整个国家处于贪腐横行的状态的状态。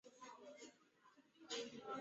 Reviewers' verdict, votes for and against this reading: rejected, 0, 3